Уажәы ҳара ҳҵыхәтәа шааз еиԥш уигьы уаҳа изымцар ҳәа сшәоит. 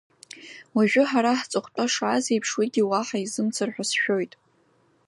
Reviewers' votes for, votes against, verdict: 2, 0, accepted